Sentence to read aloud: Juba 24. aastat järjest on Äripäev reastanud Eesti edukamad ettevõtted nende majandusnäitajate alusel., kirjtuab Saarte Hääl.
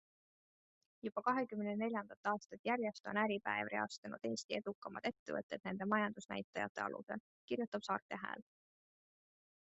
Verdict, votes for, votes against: rejected, 0, 2